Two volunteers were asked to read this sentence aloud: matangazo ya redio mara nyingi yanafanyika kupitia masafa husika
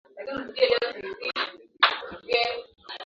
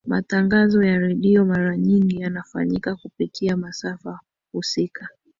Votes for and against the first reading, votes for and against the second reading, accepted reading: 0, 3, 2, 0, second